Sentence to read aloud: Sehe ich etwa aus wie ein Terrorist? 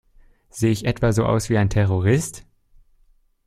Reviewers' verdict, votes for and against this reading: rejected, 1, 2